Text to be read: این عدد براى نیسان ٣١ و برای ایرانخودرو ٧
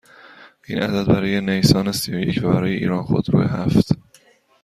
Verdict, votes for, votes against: rejected, 0, 2